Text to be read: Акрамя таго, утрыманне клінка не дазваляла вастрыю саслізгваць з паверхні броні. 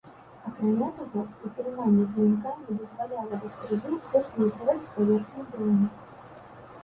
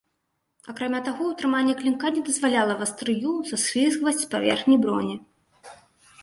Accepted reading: second